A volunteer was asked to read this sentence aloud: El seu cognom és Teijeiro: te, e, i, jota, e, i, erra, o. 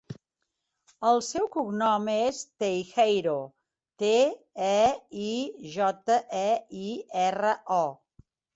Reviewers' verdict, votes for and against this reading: rejected, 1, 2